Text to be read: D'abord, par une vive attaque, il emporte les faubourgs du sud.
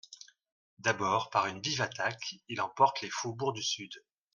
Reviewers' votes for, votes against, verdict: 2, 0, accepted